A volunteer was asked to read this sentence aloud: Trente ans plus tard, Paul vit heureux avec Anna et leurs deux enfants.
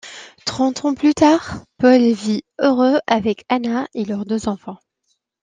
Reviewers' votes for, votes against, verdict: 2, 0, accepted